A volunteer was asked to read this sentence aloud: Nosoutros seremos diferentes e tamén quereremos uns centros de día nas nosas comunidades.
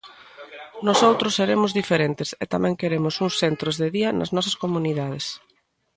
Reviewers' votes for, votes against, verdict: 1, 2, rejected